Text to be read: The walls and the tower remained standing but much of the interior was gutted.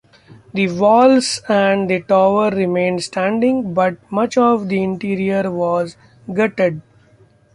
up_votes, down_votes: 2, 0